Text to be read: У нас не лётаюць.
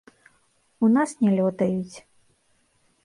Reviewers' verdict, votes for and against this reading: rejected, 1, 2